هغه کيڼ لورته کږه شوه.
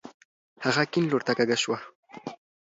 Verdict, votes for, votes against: accepted, 2, 0